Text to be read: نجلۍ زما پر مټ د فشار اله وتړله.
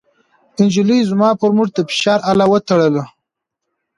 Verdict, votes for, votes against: rejected, 1, 2